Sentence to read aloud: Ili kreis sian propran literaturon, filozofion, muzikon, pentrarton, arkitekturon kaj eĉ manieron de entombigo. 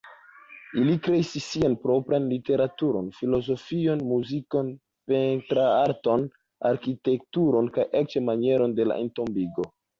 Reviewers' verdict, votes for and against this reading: rejected, 1, 2